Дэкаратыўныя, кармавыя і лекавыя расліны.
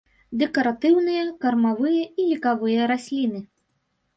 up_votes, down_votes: 1, 2